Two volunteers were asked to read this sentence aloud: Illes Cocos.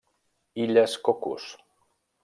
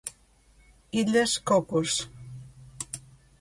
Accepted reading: second